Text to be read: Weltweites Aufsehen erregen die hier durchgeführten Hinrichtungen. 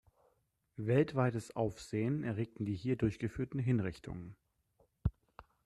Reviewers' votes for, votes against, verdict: 1, 2, rejected